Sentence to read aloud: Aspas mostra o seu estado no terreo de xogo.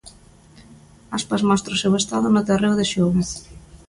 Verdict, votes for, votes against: accepted, 2, 0